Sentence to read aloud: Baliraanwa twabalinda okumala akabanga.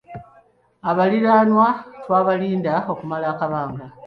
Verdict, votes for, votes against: rejected, 1, 2